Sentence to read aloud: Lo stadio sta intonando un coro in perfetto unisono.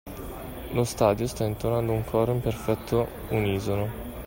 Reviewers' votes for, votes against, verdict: 2, 0, accepted